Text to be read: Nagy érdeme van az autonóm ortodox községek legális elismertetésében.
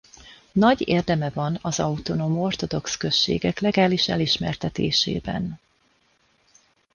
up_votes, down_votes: 2, 0